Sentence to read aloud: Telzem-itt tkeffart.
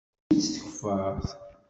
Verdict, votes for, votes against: rejected, 1, 2